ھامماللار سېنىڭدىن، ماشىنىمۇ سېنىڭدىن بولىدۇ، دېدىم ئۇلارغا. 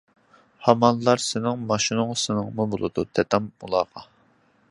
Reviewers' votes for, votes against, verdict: 0, 2, rejected